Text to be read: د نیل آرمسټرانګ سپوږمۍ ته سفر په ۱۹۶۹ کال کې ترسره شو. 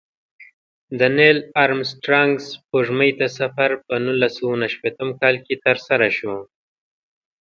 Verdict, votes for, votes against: rejected, 0, 2